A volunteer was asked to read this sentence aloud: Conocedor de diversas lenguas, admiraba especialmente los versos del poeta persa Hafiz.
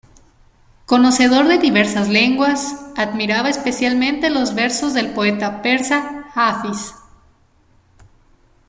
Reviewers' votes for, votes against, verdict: 2, 0, accepted